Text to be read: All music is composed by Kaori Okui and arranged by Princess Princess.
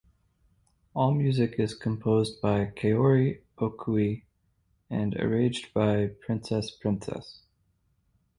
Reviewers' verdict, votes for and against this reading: accepted, 4, 0